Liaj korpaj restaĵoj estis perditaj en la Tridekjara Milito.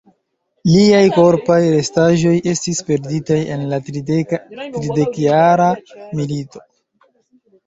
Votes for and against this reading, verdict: 1, 2, rejected